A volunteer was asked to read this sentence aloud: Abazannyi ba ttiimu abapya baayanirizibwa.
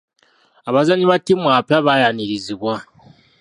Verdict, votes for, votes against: accepted, 2, 0